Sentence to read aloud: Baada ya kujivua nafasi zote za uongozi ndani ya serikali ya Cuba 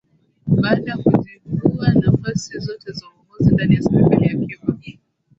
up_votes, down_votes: 2, 1